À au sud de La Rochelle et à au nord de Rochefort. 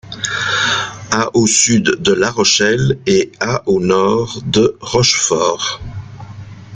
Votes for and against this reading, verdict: 0, 2, rejected